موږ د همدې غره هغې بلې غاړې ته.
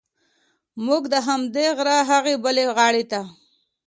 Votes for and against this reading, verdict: 2, 0, accepted